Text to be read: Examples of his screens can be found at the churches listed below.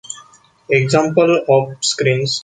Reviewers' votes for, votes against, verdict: 0, 2, rejected